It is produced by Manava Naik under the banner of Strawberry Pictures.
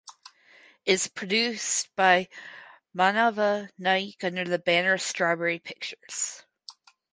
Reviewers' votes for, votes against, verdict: 2, 4, rejected